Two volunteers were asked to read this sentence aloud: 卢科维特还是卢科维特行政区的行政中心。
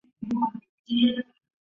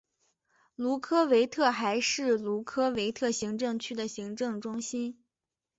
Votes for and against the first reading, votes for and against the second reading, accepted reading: 0, 3, 2, 0, second